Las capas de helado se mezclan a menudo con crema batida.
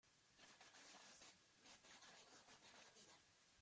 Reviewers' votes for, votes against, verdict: 0, 2, rejected